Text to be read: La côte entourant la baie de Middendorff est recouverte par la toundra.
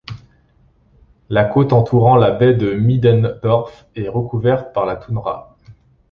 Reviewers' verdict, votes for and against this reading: accepted, 2, 0